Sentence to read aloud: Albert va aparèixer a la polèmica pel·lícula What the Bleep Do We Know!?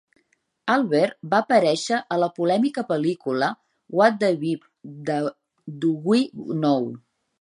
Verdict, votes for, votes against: rejected, 0, 2